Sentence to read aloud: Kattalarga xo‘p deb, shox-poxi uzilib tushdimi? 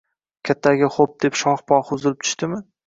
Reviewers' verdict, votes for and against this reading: rejected, 1, 2